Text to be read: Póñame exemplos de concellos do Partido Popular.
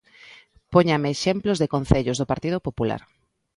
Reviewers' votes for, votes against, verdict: 2, 0, accepted